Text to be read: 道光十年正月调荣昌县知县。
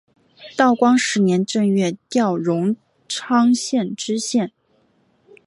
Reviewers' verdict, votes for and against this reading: accepted, 2, 0